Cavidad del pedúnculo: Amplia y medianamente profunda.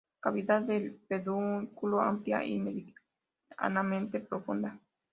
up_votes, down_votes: 2, 0